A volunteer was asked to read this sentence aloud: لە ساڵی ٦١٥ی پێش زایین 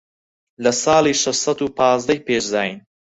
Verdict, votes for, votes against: rejected, 0, 2